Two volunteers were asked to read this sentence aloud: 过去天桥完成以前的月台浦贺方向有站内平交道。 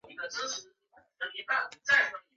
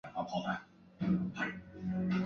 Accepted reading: first